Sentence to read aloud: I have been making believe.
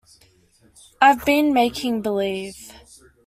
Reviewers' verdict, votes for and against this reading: accepted, 2, 0